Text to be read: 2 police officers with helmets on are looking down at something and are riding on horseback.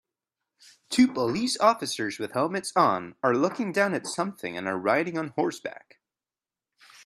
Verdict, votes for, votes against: rejected, 0, 2